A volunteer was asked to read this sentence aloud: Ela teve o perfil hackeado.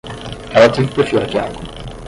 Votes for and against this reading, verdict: 0, 10, rejected